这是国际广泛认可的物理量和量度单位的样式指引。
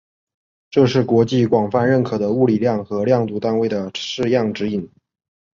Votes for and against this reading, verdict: 1, 2, rejected